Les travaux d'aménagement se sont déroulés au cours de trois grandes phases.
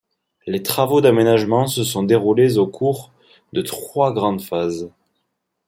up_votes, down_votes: 2, 0